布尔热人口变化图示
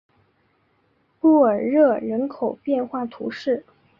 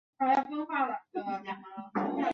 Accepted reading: first